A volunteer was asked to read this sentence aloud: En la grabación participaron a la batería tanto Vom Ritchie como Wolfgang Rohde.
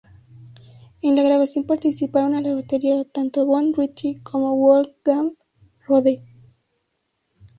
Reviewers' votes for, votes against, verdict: 0, 2, rejected